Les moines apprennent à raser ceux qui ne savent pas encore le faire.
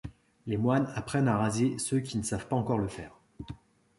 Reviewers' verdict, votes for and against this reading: accepted, 2, 1